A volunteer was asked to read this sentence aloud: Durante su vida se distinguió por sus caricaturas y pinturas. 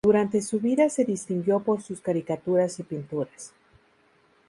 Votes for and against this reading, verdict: 2, 0, accepted